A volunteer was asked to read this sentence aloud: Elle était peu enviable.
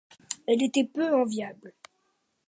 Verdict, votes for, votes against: accepted, 2, 0